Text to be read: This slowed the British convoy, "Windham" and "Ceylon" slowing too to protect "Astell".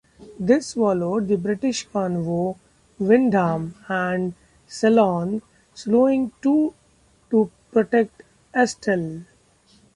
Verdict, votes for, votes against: rejected, 1, 2